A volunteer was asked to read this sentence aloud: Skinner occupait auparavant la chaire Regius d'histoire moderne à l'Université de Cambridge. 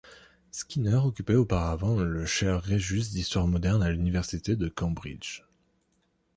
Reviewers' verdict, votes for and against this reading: rejected, 0, 2